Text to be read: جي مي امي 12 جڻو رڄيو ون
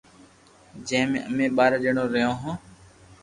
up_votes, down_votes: 0, 2